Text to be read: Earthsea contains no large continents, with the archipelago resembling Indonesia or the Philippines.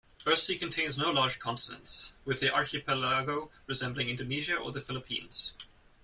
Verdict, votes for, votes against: rejected, 0, 2